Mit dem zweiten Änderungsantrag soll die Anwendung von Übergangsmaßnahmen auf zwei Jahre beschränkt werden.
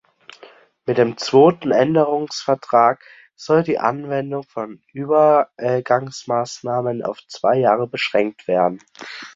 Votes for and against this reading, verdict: 0, 3, rejected